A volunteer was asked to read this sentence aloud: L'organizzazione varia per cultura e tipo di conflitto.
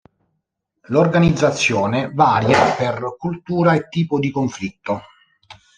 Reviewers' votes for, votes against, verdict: 1, 2, rejected